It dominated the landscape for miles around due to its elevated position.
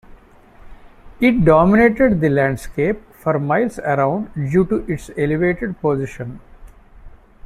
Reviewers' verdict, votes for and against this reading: accepted, 2, 0